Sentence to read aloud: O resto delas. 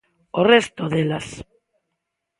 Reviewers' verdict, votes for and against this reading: accepted, 2, 0